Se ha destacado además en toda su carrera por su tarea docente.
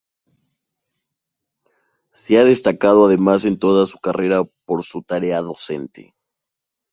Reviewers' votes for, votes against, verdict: 2, 0, accepted